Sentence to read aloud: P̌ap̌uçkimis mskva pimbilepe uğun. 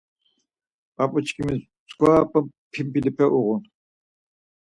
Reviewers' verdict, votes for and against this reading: rejected, 2, 4